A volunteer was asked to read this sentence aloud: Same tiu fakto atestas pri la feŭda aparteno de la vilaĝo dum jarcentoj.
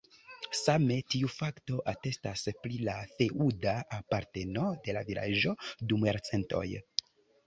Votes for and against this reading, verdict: 5, 1, accepted